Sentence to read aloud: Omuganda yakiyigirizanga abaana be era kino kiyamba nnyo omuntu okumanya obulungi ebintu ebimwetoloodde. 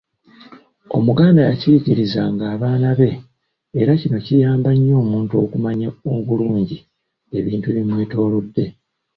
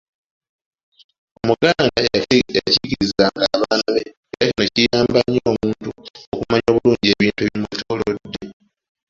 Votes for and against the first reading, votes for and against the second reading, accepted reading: 2, 0, 0, 2, first